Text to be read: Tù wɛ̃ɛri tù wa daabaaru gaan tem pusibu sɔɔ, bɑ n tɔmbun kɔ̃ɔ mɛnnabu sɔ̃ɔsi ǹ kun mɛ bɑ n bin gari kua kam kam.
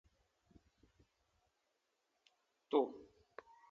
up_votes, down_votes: 0, 2